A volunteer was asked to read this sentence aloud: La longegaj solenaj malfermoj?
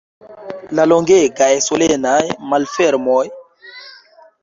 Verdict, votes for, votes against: accepted, 2, 1